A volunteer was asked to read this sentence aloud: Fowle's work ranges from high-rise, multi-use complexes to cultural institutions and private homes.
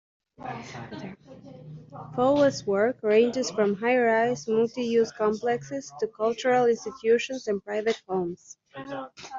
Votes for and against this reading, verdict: 1, 2, rejected